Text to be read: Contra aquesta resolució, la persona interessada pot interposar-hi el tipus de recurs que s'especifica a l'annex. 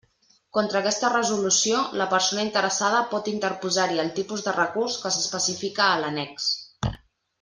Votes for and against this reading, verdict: 4, 0, accepted